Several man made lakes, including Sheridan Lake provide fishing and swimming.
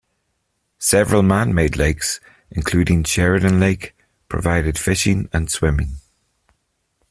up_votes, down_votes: 1, 2